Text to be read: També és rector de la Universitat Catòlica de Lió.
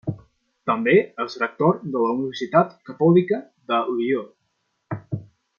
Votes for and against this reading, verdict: 2, 0, accepted